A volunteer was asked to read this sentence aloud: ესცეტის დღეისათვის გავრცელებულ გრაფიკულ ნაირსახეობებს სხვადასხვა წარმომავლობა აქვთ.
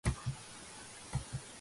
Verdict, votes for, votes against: rejected, 0, 2